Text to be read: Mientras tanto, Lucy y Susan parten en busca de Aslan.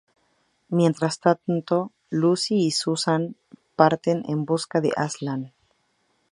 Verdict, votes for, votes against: accepted, 4, 0